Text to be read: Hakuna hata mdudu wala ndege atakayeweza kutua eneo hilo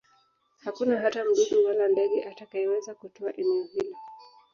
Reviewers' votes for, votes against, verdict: 1, 2, rejected